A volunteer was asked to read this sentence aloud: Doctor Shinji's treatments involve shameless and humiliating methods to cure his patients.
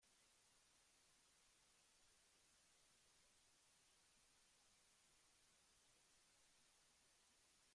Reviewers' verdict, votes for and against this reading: rejected, 0, 2